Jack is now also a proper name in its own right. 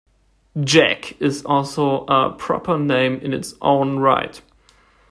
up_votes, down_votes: 1, 2